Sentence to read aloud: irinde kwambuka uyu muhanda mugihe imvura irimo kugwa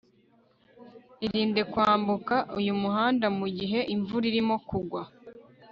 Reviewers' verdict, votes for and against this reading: rejected, 1, 2